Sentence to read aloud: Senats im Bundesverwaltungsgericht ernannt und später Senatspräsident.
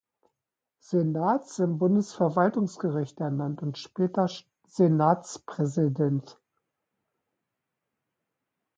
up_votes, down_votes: 0, 2